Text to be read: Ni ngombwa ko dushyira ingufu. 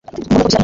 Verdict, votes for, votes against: rejected, 1, 2